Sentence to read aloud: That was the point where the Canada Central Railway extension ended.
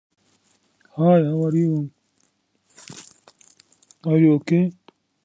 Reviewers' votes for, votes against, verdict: 0, 2, rejected